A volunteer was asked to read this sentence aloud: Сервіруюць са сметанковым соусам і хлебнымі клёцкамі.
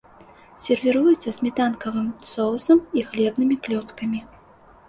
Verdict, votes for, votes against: rejected, 0, 2